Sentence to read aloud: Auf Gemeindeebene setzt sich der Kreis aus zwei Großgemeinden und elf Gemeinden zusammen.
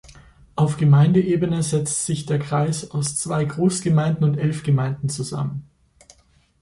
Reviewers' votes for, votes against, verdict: 2, 1, accepted